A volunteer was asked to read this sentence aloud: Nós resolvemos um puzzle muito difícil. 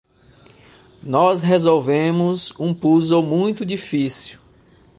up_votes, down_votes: 2, 0